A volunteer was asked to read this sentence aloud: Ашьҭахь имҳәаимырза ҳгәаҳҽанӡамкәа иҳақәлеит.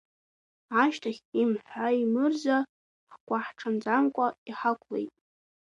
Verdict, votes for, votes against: accepted, 2, 1